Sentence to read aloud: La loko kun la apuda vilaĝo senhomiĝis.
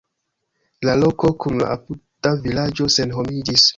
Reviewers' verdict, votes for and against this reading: accepted, 2, 1